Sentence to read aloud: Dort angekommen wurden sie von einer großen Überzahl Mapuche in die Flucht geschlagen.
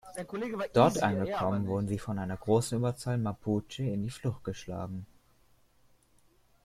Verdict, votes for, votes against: accepted, 2, 0